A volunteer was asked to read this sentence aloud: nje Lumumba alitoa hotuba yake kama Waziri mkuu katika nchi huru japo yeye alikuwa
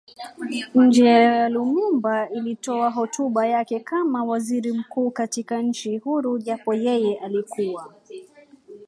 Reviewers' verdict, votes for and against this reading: rejected, 0, 2